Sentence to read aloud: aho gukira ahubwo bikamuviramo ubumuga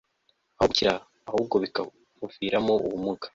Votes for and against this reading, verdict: 2, 0, accepted